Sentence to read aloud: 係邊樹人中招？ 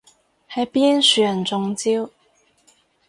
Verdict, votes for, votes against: rejected, 0, 2